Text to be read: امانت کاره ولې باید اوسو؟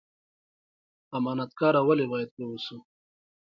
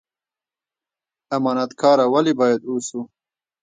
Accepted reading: first